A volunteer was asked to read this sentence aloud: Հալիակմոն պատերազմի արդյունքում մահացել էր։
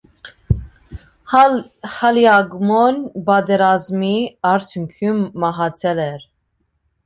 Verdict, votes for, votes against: rejected, 1, 2